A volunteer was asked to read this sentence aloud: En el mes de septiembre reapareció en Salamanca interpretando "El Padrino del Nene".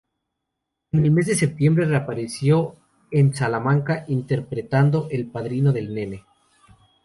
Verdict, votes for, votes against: accepted, 2, 0